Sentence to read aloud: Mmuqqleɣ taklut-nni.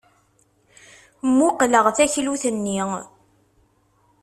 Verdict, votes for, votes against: accepted, 2, 0